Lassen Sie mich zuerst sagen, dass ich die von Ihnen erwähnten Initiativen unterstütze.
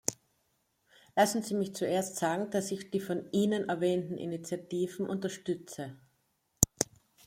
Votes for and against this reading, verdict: 2, 0, accepted